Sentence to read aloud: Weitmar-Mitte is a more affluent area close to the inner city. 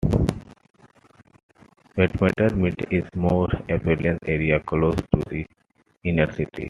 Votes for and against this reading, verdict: 2, 1, accepted